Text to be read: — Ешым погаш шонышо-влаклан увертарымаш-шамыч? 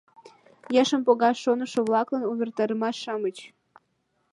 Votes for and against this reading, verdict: 1, 2, rejected